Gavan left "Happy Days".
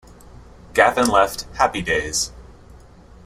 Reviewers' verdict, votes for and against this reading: accepted, 2, 0